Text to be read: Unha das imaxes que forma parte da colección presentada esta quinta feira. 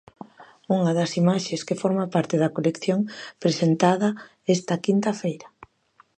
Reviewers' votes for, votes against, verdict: 2, 1, accepted